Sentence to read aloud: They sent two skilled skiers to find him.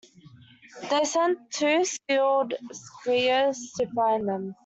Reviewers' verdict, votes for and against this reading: rejected, 1, 2